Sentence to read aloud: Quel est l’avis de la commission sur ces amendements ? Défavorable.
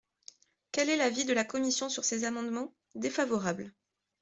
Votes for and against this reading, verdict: 2, 0, accepted